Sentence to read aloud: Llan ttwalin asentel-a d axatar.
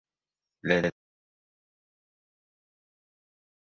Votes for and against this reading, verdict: 0, 2, rejected